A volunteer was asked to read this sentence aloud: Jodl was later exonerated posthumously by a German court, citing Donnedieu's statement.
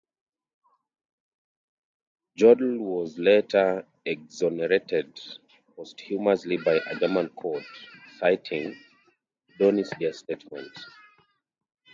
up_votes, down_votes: 0, 2